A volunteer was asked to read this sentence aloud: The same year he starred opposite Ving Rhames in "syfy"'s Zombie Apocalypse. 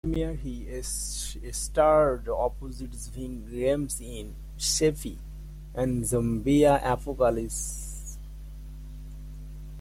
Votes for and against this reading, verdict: 0, 2, rejected